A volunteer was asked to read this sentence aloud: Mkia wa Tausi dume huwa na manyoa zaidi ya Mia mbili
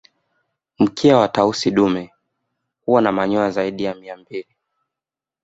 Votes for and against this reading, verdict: 2, 0, accepted